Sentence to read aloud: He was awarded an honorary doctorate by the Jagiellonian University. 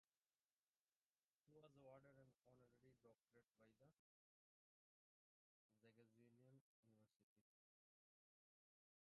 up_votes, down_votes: 0, 2